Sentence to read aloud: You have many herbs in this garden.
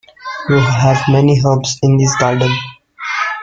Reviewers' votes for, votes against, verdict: 0, 2, rejected